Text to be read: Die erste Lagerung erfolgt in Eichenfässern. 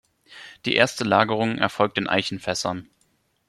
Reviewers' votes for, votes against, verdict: 2, 0, accepted